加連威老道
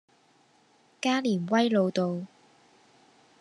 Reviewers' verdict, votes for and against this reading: accepted, 2, 0